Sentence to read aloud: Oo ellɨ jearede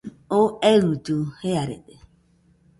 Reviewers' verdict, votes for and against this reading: accepted, 2, 0